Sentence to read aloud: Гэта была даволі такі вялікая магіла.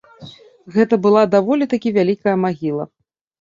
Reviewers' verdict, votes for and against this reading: accepted, 2, 0